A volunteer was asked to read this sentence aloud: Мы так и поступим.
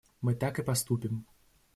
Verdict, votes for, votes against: accepted, 2, 0